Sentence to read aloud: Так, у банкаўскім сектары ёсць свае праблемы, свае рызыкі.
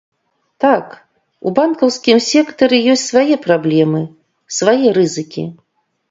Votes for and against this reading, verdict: 2, 0, accepted